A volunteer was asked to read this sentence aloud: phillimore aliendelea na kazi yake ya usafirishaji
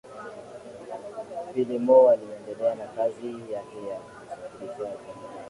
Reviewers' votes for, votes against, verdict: 3, 3, rejected